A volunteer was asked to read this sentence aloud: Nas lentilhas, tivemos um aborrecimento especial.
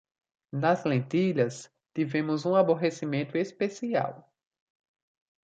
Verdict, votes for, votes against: rejected, 1, 2